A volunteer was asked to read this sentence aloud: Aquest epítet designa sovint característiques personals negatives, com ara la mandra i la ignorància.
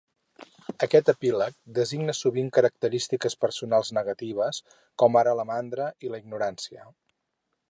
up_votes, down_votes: 0, 2